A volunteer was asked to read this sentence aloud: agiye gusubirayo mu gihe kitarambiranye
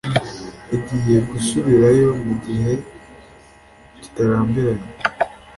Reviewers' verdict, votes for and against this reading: accepted, 2, 0